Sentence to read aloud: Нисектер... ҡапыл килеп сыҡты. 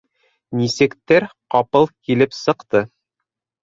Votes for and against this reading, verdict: 1, 2, rejected